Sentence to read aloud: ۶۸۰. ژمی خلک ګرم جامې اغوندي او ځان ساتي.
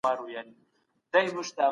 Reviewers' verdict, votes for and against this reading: rejected, 0, 2